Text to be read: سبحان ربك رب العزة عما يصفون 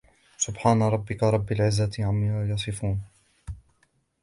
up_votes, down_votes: 2, 1